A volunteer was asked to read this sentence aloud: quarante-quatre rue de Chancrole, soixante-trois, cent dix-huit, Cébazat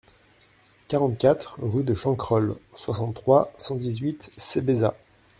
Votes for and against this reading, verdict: 1, 2, rejected